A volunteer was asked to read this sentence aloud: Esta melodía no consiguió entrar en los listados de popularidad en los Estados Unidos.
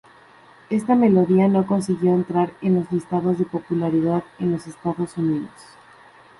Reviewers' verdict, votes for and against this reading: rejected, 0, 2